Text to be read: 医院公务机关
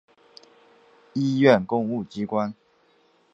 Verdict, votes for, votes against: accepted, 3, 0